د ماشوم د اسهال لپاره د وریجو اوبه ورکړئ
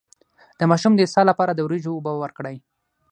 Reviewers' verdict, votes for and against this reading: accepted, 6, 0